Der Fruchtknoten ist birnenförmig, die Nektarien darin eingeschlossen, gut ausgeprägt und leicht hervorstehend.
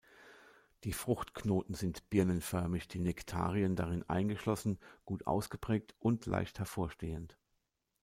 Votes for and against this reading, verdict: 0, 2, rejected